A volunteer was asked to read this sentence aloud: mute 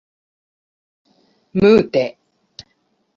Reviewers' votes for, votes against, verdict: 4, 2, accepted